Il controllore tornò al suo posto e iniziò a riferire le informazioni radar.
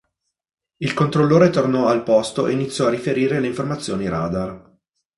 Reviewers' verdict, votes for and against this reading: rejected, 0, 2